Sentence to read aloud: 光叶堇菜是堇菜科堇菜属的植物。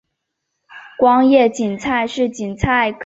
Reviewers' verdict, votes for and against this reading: rejected, 0, 2